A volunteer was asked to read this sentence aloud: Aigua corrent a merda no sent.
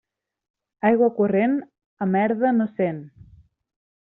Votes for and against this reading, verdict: 3, 0, accepted